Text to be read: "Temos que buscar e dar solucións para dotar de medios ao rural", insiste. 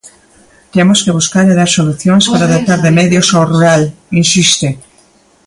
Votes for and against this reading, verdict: 0, 2, rejected